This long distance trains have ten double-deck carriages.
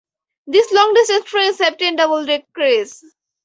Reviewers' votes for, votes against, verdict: 0, 2, rejected